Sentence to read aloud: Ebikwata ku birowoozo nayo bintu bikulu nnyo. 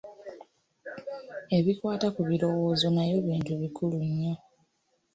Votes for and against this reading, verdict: 2, 1, accepted